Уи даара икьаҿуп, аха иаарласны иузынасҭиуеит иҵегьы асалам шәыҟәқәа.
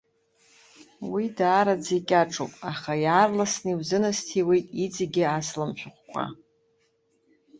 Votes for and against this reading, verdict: 0, 2, rejected